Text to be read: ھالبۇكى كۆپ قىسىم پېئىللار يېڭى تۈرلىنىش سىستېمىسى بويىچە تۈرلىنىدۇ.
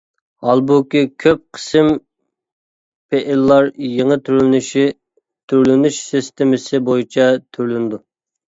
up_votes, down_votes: 0, 2